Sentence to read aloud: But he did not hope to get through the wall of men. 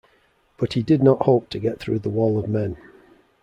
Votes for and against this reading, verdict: 2, 0, accepted